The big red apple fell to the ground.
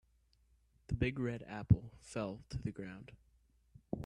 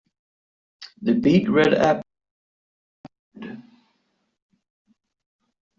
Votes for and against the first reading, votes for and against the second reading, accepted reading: 2, 0, 0, 2, first